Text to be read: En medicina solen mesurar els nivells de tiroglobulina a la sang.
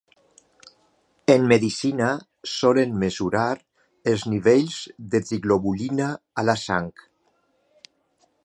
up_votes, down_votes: 1, 2